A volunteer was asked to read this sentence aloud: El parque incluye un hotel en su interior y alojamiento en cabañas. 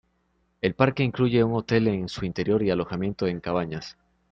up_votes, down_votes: 2, 1